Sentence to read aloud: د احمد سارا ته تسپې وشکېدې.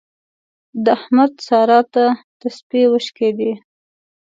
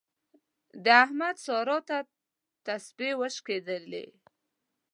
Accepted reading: first